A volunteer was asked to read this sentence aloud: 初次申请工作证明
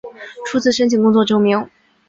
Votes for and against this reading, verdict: 2, 0, accepted